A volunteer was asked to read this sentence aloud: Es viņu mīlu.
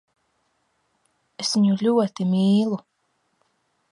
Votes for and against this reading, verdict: 0, 2, rejected